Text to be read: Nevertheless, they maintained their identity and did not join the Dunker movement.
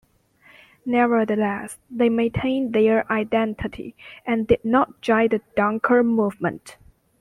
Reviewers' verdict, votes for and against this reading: rejected, 1, 2